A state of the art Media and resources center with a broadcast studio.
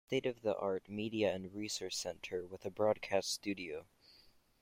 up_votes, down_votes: 0, 2